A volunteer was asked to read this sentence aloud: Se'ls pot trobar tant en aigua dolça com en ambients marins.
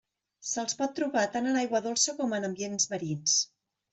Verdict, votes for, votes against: accepted, 2, 0